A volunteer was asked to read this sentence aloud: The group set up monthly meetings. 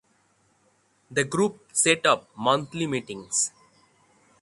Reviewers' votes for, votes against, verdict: 3, 3, rejected